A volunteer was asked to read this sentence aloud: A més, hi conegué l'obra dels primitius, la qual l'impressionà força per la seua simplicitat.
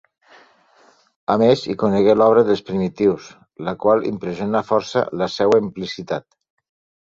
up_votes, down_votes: 0, 2